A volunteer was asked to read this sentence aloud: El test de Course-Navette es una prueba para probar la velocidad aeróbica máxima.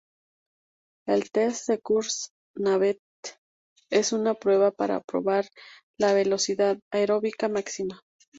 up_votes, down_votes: 2, 2